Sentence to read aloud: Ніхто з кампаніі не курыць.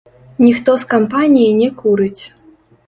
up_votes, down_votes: 0, 2